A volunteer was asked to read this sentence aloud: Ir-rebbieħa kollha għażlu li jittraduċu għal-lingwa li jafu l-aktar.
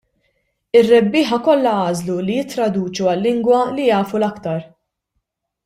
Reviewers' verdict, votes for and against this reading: accepted, 2, 0